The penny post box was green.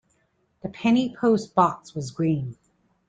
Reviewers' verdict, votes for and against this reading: accepted, 2, 0